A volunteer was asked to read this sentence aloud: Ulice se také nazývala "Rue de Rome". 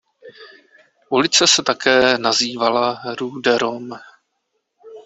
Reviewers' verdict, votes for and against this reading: rejected, 0, 2